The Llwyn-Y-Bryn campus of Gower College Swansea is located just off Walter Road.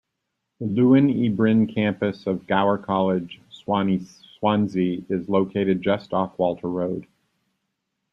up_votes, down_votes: 0, 2